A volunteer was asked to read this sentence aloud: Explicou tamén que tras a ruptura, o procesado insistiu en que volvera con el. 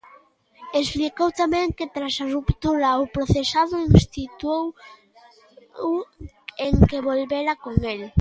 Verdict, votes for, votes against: rejected, 0, 2